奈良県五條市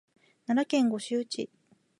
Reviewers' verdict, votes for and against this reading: accepted, 5, 3